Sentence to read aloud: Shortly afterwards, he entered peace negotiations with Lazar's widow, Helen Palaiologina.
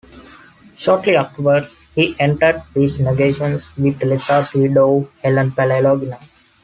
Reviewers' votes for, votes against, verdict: 2, 1, accepted